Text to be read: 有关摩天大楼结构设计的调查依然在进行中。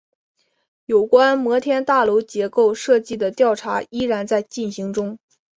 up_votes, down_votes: 3, 0